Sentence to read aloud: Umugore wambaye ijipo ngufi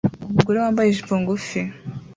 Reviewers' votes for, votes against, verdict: 3, 0, accepted